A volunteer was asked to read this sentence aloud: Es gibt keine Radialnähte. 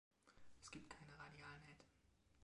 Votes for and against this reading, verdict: 1, 2, rejected